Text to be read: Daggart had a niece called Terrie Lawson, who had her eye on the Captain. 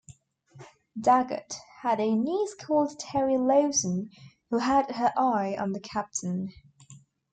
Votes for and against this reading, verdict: 2, 0, accepted